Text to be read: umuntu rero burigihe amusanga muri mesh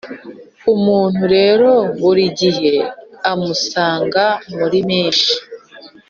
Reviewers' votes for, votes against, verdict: 2, 0, accepted